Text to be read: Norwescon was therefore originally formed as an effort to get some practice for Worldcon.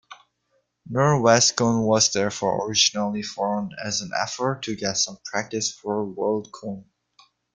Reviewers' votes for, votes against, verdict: 2, 0, accepted